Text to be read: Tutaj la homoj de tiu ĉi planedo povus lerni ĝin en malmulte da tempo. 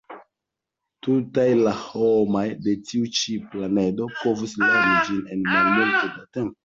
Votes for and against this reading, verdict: 1, 2, rejected